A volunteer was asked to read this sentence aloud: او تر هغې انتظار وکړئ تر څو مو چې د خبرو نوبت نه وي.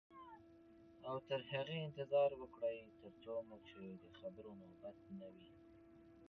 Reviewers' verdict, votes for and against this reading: rejected, 0, 2